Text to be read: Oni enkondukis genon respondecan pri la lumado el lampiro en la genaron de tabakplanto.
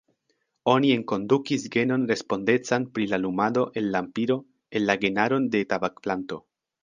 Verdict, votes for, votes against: accepted, 2, 0